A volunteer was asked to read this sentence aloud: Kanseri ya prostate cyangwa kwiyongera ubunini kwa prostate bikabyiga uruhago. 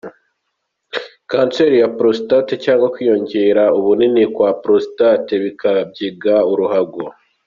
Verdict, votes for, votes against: accepted, 2, 0